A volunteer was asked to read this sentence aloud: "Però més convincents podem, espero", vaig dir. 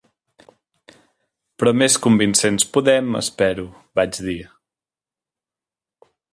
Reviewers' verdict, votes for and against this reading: accepted, 3, 0